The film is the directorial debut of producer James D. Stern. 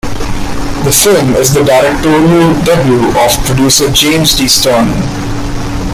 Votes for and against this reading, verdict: 0, 3, rejected